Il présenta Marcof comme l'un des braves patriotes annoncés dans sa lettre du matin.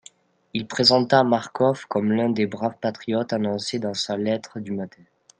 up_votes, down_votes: 2, 1